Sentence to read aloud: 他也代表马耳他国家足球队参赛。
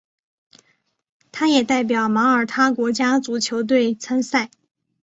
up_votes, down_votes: 2, 0